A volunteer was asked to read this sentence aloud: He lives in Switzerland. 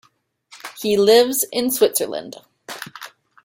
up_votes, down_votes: 2, 0